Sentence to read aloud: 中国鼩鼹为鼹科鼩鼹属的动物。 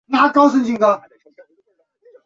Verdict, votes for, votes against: rejected, 0, 2